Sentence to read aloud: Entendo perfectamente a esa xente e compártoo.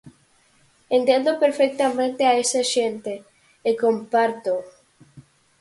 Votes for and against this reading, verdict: 4, 0, accepted